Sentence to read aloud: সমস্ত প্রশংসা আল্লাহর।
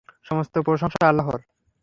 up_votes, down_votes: 3, 0